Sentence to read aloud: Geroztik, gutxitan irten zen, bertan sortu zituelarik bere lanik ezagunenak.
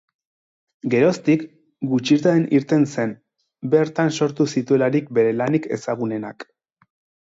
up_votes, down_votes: 4, 0